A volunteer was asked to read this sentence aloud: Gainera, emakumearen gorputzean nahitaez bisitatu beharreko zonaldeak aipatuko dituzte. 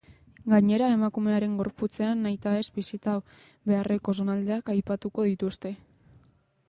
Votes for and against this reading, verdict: 0, 2, rejected